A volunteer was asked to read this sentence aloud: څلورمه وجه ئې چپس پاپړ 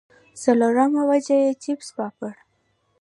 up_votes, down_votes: 2, 0